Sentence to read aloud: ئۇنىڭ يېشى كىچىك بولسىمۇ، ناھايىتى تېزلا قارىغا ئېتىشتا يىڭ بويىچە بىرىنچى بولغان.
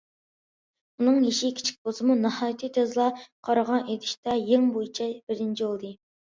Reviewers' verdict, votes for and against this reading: accepted, 2, 0